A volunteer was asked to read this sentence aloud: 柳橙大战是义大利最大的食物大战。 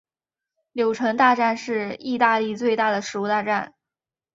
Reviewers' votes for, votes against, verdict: 1, 2, rejected